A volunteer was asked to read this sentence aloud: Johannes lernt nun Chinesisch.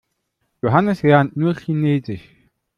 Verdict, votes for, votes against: rejected, 1, 2